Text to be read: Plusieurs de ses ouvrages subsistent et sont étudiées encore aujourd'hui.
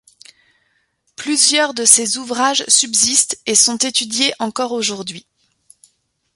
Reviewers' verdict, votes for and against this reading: accepted, 2, 0